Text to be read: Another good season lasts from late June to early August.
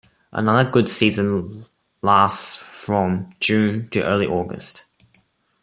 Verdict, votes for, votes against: accepted, 2, 1